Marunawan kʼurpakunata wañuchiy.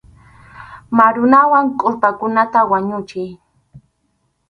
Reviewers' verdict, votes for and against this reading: accepted, 4, 0